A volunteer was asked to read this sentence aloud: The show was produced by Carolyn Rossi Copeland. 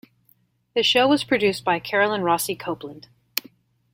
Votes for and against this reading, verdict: 2, 0, accepted